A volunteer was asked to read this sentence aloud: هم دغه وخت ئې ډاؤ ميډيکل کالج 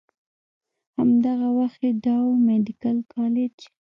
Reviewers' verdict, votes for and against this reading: rejected, 1, 2